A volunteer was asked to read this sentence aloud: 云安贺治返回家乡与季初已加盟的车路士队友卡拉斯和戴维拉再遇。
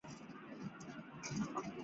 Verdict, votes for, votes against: rejected, 0, 2